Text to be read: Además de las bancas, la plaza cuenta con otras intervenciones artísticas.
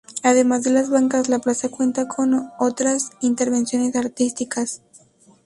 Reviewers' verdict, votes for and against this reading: rejected, 0, 2